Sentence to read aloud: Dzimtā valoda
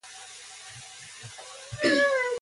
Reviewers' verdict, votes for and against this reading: rejected, 0, 2